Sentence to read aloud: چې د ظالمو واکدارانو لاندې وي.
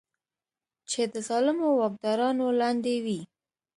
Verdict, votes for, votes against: accepted, 2, 0